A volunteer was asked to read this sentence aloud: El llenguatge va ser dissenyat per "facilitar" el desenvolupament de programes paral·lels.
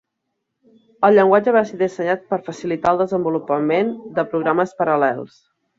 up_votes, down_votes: 2, 0